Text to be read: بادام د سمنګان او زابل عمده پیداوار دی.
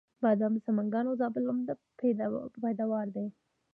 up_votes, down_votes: 0, 2